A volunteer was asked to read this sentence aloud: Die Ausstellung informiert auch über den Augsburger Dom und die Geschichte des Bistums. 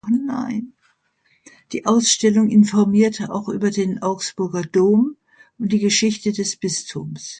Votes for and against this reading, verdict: 0, 3, rejected